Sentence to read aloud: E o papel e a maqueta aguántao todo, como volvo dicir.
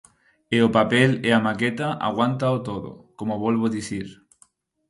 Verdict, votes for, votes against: accepted, 4, 0